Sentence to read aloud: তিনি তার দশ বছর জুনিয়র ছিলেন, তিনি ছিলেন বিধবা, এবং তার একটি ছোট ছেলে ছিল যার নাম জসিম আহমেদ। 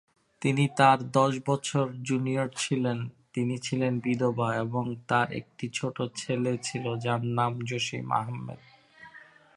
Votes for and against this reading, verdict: 2, 0, accepted